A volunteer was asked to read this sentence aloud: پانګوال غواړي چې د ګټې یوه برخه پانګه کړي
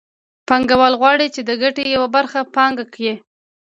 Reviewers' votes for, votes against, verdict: 2, 0, accepted